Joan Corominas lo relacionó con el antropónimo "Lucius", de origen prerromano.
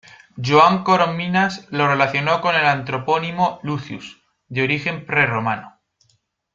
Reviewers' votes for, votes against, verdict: 2, 0, accepted